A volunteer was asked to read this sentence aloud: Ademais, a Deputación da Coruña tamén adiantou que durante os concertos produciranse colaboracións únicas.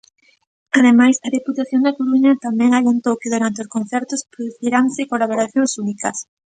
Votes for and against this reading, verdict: 2, 0, accepted